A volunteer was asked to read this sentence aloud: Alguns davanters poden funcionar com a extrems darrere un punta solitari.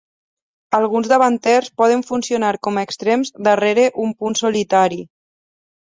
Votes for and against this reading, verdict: 2, 4, rejected